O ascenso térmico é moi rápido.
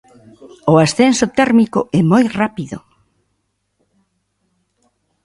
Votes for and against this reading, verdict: 2, 0, accepted